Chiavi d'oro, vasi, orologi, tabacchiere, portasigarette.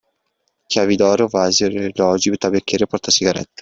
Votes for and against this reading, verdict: 1, 2, rejected